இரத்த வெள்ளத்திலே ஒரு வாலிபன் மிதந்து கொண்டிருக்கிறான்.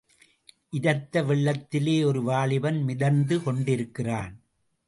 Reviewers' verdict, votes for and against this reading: accepted, 2, 0